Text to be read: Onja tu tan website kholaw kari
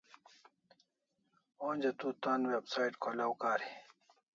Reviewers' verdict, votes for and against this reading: accepted, 2, 0